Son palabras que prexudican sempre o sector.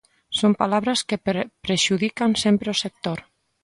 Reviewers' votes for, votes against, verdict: 0, 2, rejected